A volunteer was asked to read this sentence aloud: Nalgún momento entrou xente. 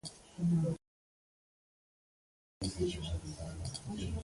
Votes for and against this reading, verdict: 0, 2, rejected